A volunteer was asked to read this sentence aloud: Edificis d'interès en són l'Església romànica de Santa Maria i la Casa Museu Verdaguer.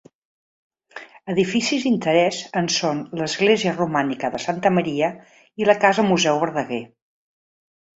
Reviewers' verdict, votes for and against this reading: accepted, 2, 0